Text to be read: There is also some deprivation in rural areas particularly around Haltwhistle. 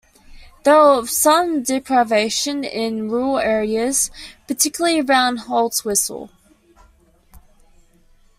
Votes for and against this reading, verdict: 1, 2, rejected